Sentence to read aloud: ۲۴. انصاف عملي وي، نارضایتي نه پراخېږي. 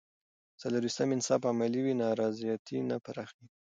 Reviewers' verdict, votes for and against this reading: rejected, 0, 2